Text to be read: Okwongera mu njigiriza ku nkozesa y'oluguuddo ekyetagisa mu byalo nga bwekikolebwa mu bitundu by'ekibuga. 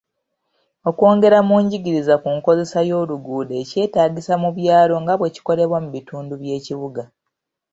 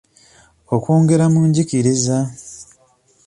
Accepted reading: first